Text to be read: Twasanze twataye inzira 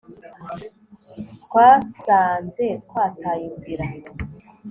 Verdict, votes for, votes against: accepted, 2, 0